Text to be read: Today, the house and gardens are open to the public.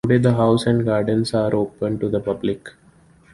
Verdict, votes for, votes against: rejected, 1, 2